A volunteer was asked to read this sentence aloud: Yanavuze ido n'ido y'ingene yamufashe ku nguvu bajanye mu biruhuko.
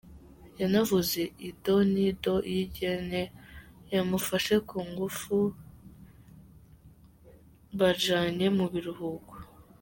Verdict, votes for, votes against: rejected, 0, 3